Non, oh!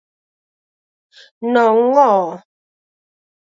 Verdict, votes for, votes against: accepted, 6, 2